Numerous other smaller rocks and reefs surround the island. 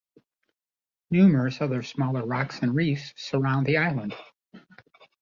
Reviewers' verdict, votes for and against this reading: accepted, 2, 0